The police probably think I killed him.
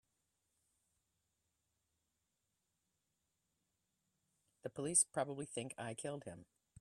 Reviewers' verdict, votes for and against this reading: accepted, 3, 0